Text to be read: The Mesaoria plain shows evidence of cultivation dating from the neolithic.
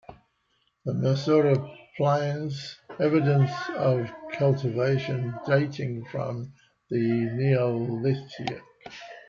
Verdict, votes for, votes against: rejected, 0, 2